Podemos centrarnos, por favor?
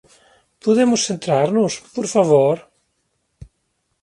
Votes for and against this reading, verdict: 2, 0, accepted